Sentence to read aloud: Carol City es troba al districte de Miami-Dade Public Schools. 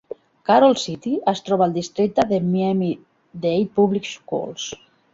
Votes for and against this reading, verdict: 3, 2, accepted